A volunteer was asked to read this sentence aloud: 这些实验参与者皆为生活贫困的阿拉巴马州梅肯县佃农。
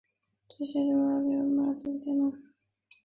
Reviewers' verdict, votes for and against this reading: rejected, 1, 2